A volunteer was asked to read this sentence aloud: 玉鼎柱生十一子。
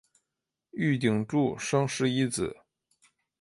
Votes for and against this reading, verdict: 2, 0, accepted